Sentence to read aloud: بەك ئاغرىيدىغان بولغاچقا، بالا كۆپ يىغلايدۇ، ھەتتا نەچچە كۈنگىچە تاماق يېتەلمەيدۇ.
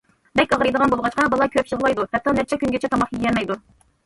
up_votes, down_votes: 0, 2